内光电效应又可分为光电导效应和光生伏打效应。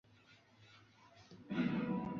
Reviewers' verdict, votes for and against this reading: rejected, 0, 2